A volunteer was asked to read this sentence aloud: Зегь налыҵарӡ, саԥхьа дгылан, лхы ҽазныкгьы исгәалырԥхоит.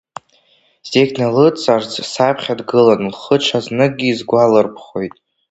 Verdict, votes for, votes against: rejected, 1, 2